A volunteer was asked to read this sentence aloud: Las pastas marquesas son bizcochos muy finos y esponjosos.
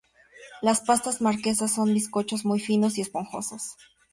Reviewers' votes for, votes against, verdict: 2, 0, accepted